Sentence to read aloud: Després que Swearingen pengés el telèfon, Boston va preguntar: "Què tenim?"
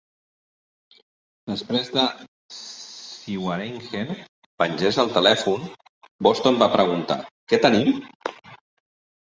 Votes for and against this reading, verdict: 0, 2, rejected